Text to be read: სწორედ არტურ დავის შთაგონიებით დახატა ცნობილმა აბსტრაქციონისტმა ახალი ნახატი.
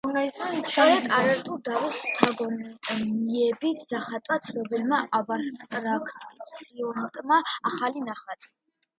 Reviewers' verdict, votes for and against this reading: rejected, 0, 2